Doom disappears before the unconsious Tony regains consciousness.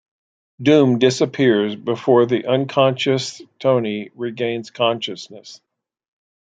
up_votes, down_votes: 1, 2